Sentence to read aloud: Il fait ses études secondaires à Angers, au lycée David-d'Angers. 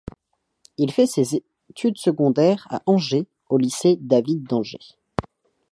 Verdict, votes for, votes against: accepted, 2, 0